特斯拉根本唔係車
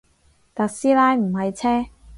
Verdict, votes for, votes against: rejected, 0, 4